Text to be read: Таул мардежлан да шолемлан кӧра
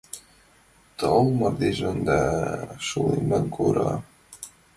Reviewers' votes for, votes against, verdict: 0, 4, rejected